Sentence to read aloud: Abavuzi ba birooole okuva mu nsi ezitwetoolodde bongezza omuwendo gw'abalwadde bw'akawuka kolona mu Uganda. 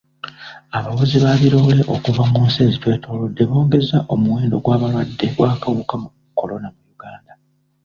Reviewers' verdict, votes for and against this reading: rejected, 1, 2